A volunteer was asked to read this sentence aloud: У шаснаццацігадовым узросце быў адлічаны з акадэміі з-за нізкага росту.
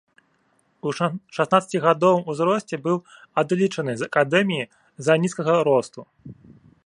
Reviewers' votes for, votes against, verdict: 0, 2, rejected